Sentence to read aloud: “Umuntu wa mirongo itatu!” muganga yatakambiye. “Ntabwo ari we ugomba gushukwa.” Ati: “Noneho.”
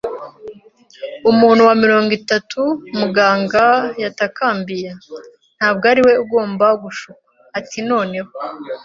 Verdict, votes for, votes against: accepted, 2, 0